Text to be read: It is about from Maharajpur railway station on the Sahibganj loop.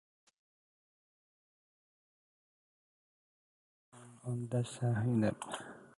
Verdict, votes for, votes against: rejected, 0, 2